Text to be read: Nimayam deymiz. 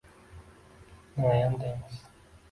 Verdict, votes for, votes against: rejected, 0, 2